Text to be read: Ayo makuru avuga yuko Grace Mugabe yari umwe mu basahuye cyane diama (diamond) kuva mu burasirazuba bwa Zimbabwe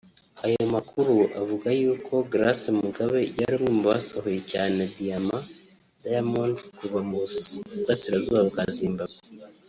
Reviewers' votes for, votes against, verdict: 0, 2, rejected